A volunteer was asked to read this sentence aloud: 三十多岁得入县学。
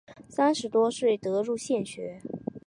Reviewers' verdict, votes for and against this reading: accepted, 3, 0